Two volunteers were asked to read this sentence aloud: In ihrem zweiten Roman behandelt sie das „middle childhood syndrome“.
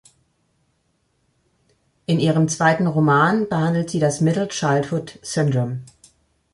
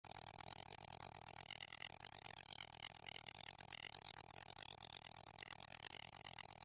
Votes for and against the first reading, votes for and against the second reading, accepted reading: 2, 0, 0, 2, first